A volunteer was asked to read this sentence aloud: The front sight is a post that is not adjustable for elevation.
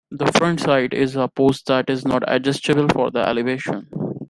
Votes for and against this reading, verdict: 0, 2, rejected